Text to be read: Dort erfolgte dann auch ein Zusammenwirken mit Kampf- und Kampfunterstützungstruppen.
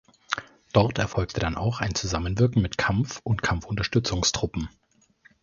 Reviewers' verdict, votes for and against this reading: accepted, 2, 0